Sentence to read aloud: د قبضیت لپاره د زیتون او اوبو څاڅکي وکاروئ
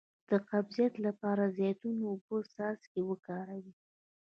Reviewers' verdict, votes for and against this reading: rejected, 1, 2